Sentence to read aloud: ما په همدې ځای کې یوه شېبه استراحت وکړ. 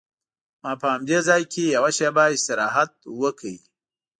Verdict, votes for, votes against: accepted, 2, 0